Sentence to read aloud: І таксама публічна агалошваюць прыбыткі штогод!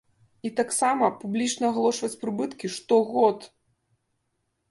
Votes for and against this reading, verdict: 1, 2, rejected